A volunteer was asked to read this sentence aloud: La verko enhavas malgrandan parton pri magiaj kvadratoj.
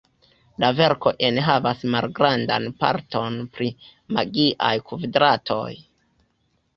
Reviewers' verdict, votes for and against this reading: rejected, 0, 2